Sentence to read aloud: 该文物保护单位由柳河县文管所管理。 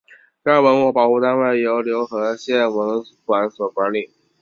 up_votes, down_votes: 3, 0